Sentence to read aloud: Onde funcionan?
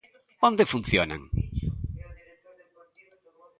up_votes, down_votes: 2, 0